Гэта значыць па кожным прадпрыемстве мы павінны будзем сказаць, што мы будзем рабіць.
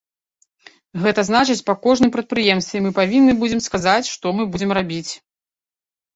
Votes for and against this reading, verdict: 2, 0, accepted